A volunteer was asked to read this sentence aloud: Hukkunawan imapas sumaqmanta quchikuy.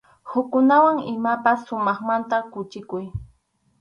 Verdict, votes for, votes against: accepted, 4, 0